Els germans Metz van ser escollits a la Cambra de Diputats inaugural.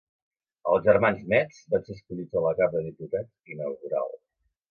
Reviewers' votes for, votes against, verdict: 2, 1, accepted